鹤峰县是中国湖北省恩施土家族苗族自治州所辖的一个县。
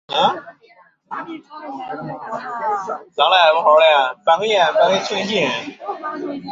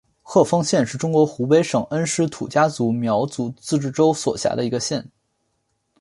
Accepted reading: second